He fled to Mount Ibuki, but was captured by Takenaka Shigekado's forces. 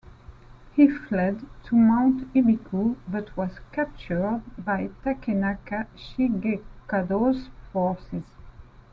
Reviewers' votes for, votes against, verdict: 2, 0, accepted